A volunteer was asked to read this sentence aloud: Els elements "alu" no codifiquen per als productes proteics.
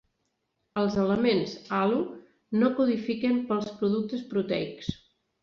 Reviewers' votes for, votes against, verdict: 2, 0, accepted